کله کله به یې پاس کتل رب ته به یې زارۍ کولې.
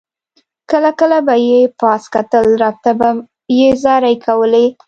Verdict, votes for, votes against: accepted, 2, 0